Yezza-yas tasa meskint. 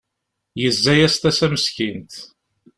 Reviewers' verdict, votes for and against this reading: accepted, 2, 0